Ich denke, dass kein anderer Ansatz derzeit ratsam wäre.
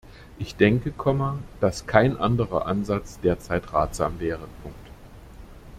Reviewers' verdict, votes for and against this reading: rejected, 0, 2